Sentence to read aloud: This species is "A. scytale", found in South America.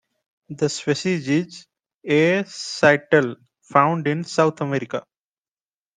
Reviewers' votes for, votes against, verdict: 1, 2, rejected